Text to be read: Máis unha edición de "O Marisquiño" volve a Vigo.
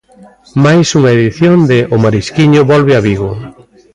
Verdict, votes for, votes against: accepted, 2, 0